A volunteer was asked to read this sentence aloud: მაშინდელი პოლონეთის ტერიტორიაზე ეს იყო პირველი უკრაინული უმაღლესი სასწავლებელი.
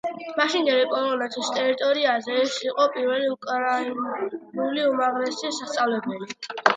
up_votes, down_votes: 1, 2